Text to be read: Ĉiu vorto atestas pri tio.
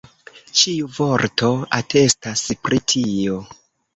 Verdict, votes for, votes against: accepted, 2, 0